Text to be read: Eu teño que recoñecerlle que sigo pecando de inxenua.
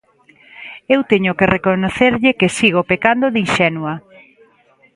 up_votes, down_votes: 1, 2